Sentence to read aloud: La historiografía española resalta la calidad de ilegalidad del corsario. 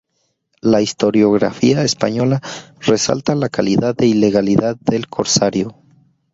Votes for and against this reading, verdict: 2, 0, accepted